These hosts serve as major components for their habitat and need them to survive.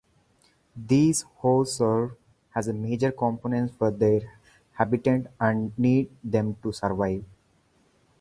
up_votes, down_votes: 4, 0